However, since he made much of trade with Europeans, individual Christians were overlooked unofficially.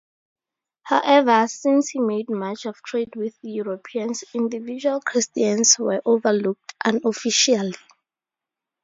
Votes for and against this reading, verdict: 4, 0, accepted